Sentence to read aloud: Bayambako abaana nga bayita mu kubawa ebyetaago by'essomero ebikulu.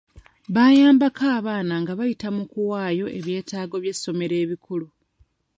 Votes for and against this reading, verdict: 0, 2, rejected